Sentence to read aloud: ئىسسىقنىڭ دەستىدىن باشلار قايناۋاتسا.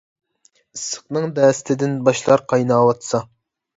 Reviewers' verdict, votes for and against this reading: accepted, 2, 0